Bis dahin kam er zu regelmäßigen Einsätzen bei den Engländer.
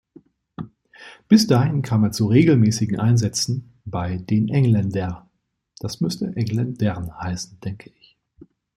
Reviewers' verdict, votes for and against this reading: rejected, 1, 2